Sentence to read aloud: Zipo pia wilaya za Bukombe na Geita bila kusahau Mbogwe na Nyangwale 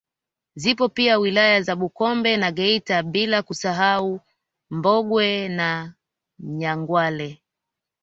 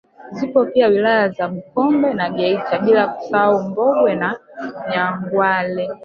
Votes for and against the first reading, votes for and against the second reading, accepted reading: 2, 1, 1, 2, first